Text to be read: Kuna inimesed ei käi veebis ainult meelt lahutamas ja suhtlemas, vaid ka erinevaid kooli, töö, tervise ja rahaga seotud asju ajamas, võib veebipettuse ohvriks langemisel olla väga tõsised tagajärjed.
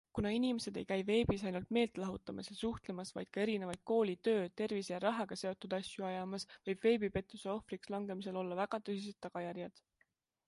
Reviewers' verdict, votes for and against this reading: accepted, 3, 0